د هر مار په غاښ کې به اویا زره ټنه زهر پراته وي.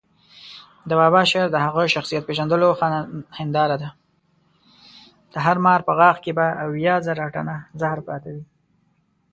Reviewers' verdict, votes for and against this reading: rejected, 0, 2